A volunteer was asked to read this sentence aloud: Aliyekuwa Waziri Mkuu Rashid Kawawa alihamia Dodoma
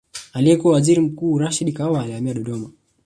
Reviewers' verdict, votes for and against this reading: rejected, 1, 2